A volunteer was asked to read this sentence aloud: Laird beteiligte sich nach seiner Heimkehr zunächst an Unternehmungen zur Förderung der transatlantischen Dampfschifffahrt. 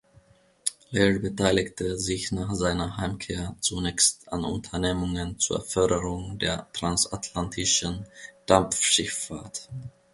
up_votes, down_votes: 2, 0